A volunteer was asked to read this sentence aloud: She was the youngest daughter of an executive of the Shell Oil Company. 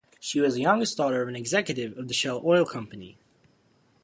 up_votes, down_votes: 0, 2